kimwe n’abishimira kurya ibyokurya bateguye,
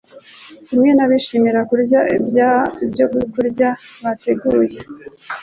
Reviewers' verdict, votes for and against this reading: rejected, 0, 2